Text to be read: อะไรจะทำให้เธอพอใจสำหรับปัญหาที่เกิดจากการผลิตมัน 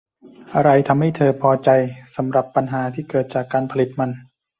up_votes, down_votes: 1, 2